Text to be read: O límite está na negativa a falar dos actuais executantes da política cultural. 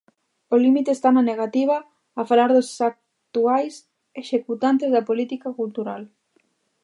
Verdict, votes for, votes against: accepted, 2, 1